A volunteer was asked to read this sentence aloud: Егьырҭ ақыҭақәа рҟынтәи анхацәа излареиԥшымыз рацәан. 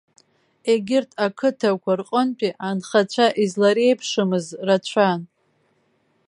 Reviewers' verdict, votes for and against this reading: accepted, 2, 0